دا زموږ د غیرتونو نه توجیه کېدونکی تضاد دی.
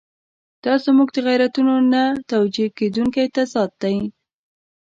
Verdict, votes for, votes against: accepted, 2, 0